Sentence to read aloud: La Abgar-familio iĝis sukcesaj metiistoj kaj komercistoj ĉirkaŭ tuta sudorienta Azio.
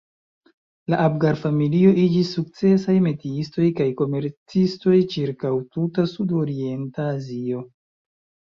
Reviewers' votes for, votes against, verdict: 2, 0, accepted